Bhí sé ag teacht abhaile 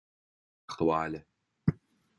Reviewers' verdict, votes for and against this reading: rejected, 0, 2